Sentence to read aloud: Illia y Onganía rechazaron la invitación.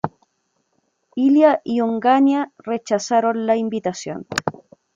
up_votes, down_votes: 1, 2